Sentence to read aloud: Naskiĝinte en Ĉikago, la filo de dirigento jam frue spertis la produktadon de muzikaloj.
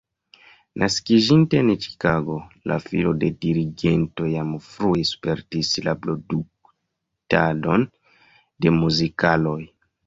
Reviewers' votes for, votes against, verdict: 1, 2, rejected